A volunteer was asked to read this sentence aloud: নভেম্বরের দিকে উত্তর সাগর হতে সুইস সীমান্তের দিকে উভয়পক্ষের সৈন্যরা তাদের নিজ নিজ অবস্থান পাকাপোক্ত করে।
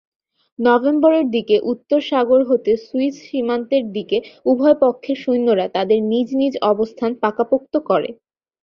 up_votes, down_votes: 7, 0